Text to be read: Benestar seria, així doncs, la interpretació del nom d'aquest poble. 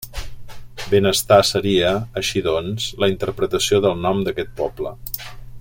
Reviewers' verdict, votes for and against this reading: accepted, 3, 1